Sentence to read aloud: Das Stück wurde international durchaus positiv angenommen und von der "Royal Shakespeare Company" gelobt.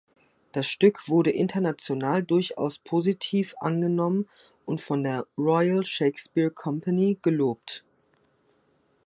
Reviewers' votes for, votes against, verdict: 3, 0, accepted